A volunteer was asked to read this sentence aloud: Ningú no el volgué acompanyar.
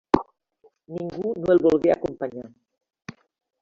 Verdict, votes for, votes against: rejected, 1, 2